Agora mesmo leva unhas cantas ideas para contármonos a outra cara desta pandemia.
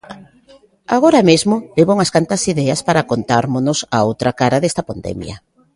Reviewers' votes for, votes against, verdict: 2, 1, accepted